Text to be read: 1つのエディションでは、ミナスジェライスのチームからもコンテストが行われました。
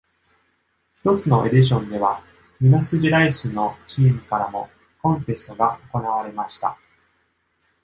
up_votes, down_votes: 0, 2